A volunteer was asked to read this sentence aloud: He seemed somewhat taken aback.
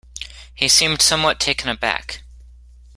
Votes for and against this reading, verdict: 2, 0, accepted